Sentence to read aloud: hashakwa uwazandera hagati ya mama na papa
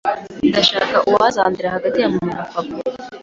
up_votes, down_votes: 2, 0